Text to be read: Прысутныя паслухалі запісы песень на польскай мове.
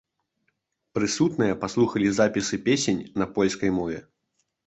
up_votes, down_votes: 2, 0